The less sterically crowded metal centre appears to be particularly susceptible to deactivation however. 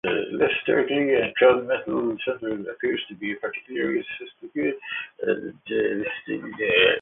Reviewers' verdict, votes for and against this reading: rejected, 0, 2